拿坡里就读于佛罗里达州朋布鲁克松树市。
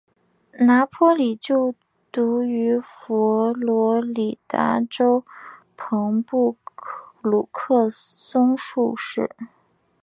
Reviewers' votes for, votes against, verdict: 2, 1, accepted